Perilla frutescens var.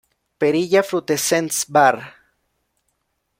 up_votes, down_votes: 1, 2